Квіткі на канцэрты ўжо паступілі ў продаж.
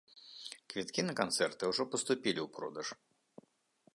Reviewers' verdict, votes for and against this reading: accepted, 2, 0